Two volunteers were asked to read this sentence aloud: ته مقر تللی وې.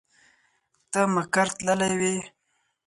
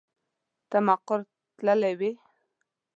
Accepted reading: first